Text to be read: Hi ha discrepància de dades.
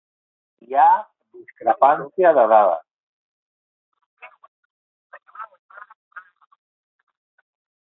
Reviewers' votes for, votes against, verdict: 3, 0, accepted